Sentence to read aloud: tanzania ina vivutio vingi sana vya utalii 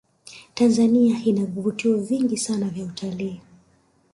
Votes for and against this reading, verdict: 2, 0, accepted